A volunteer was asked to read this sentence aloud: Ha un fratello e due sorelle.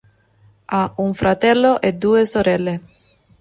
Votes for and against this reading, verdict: 2, 0, accepted